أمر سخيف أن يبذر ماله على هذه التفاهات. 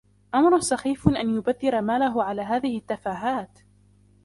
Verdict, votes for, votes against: rejected, 1, 2